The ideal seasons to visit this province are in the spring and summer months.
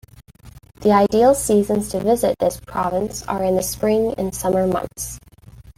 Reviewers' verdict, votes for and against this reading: accepted, 2, 0